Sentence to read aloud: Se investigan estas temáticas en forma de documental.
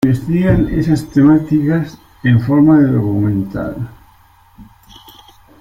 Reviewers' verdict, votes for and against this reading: rejected, 1, 2